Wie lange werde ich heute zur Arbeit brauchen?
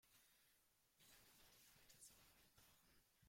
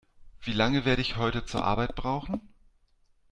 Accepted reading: second